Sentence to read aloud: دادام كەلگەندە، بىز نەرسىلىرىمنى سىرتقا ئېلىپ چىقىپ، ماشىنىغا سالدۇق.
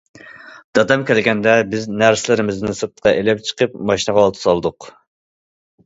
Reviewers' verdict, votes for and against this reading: rejected, 1, 2